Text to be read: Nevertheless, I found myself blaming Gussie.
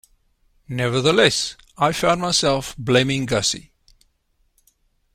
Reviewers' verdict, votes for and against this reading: accepted, 2, 0